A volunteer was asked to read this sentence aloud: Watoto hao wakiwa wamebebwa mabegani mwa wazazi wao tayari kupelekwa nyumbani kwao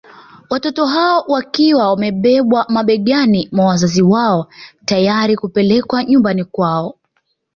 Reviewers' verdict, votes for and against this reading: accepted, 2, 0